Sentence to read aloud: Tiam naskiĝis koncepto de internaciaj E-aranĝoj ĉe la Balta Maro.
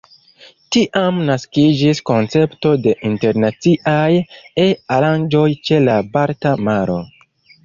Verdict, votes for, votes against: rejected, 0, 2